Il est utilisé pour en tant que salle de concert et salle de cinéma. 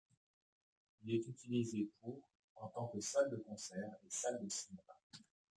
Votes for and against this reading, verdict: 0, 2, rejected